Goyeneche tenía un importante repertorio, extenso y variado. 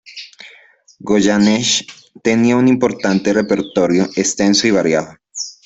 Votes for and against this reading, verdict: 2, 0, accepted